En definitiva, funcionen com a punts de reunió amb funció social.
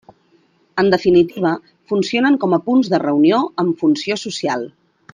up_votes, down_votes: 3, 0